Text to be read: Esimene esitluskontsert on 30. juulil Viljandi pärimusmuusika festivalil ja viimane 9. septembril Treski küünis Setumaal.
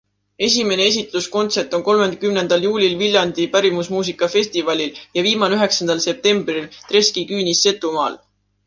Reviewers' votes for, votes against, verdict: 0, 2, rejected